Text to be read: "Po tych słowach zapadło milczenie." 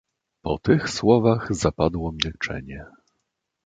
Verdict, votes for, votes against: accepted, 2, 0